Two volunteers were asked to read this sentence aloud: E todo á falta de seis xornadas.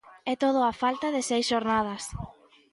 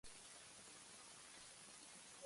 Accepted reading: first